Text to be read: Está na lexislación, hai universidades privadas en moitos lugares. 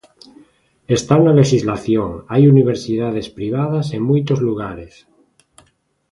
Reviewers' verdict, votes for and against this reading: accepted, 2, 0